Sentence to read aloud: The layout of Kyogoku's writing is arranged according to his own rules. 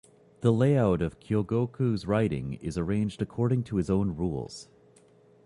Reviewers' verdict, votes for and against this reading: accepted, 2, 0